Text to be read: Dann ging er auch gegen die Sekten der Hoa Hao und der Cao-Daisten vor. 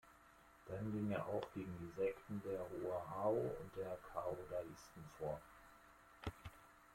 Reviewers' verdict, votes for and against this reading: rejected, 1, 2